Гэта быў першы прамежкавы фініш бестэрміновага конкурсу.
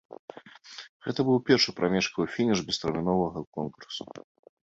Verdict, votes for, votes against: accepted, 2, 0